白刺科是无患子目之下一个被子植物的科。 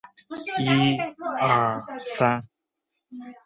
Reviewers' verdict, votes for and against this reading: rejected, 1, 3